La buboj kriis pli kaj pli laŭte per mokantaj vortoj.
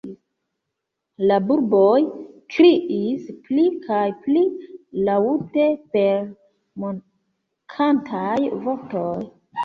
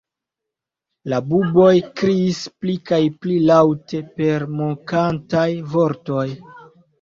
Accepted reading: second